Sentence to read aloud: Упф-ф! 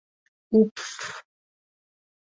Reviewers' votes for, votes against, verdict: 1, 2, rejected